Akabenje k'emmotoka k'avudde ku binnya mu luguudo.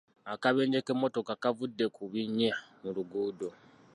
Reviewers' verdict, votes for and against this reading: accepted, 2, 0